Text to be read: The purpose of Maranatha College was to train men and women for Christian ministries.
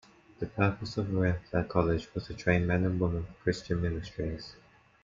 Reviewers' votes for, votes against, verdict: 2, 0, accepted